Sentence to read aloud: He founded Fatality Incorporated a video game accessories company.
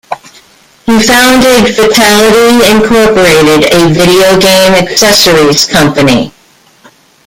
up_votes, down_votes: 1, 2